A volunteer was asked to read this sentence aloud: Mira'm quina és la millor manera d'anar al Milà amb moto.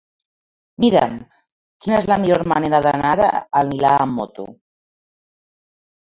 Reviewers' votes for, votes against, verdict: 1, 2, rejected